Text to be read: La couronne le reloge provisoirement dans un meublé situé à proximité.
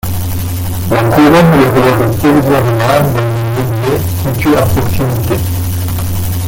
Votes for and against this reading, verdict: 0, 2, rejected